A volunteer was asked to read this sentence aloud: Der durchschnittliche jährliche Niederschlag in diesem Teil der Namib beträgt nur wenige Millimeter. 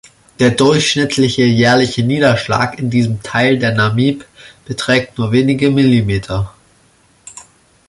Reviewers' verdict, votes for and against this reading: rejected, 1, 2